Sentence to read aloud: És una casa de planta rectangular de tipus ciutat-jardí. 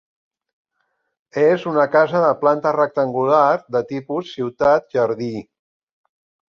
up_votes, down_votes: 4, 0